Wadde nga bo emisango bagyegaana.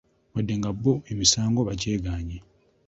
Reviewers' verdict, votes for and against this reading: rejected, 0, 2